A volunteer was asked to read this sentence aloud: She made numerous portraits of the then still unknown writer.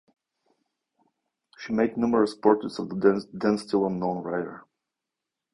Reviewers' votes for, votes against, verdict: 0, 2, rejected